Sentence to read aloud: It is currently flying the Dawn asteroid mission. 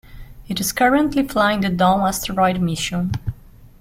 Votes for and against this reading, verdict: 2, 0, accepted